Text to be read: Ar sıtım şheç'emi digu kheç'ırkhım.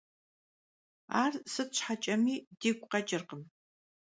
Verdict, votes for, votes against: accepted, 2, 0